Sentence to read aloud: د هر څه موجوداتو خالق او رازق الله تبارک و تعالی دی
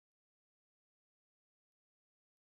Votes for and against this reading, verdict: 0, 2, rejected